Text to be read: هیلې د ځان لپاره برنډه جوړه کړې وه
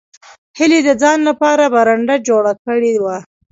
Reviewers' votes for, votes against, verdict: 0, 2, rejected